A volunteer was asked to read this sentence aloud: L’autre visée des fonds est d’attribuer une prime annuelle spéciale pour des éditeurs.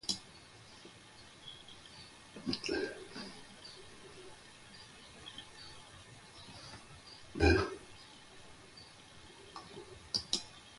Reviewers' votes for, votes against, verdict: 0, 2, rejected